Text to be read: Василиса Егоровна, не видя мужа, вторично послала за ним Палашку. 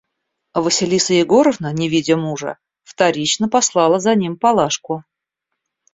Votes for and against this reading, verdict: 2, 0, accepted